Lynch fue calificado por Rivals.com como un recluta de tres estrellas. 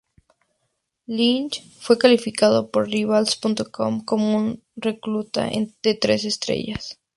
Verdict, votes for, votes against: rejected, 0, 4